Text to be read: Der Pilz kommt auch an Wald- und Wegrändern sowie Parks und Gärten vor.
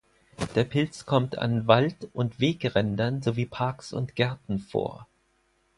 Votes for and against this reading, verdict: 0, 4, rejected